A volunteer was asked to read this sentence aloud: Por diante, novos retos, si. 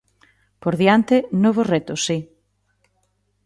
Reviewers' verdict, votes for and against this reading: accepted, 2, 0